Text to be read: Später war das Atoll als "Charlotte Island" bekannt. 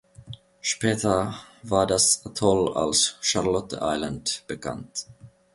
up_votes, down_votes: 2, 0